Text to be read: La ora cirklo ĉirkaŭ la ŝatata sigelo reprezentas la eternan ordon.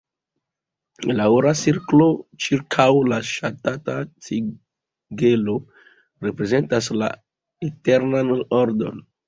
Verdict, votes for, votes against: accepted, 2, 1